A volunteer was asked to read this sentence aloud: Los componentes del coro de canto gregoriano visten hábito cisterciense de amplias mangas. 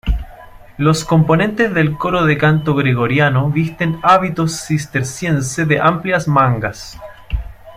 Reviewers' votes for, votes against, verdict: 2, 0, accepted